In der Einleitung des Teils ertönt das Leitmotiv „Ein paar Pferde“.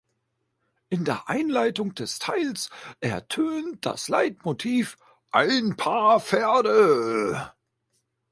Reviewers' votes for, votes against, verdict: 2, 0, accepted